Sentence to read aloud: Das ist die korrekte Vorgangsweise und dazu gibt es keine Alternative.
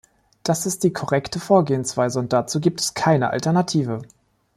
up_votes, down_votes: 1, 2